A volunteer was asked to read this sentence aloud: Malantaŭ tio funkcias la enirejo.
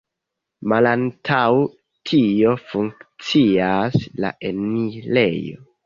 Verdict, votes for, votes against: rejected, 0, 2